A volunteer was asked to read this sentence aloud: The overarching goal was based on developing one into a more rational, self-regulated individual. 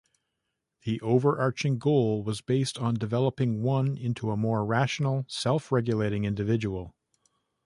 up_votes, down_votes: 2, 0